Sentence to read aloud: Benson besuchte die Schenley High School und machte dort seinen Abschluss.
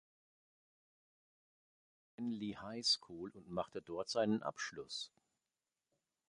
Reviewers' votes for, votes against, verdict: 0, 2, rejected